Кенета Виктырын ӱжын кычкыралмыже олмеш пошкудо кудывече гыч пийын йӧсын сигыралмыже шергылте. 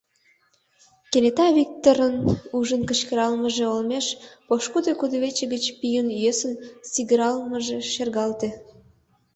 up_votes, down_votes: 1, 2